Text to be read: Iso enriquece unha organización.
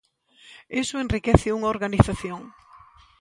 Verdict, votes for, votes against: accepted, 2, 1